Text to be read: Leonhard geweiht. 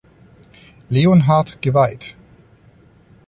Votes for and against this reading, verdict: 2, 0, accepted